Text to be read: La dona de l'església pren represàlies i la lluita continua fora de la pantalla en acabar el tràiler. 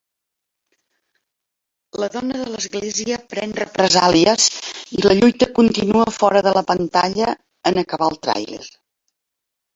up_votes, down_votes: 3, 1